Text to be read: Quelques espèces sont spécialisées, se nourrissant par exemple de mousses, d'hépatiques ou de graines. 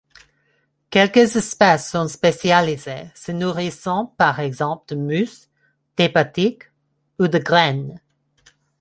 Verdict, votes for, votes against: accepted, 2, 0